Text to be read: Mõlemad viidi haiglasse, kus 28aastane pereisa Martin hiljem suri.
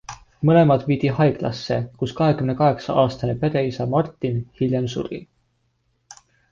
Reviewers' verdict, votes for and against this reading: rejected, 0, 2